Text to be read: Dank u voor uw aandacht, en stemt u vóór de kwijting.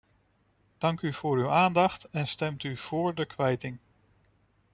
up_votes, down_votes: 2, 0